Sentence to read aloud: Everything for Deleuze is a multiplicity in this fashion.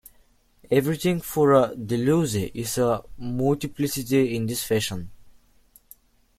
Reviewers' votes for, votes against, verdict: 0, 2, rejected